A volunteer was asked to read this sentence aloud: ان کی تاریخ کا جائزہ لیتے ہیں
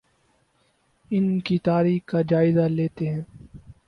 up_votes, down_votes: 4, 0